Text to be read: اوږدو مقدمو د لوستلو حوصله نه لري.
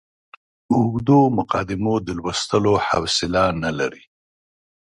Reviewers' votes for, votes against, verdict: 2, 1, accepted